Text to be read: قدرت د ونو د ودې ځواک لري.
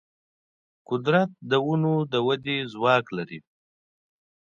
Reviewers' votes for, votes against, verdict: 2, 0, accepted